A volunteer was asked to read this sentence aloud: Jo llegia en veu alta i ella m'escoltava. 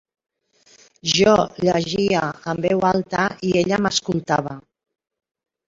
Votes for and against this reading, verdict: 3, 0, accepted